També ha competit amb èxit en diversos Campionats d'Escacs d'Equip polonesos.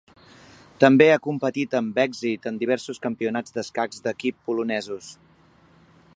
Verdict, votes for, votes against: accepted, 4, 0